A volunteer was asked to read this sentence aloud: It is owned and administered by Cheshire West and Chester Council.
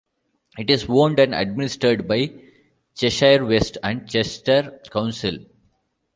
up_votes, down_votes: 2, 0